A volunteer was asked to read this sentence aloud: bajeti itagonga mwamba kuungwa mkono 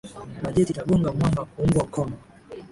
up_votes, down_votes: 4, 2